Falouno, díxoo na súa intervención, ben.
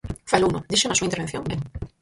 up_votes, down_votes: 0, 4